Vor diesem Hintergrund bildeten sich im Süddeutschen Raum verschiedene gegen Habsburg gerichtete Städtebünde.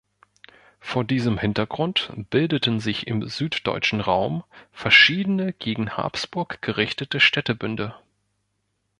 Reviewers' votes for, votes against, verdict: 3, 0, accepted